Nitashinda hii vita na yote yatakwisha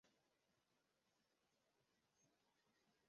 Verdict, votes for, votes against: rejected, 0, 2